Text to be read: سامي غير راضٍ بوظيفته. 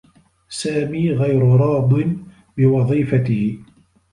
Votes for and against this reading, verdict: 2, 0, accepted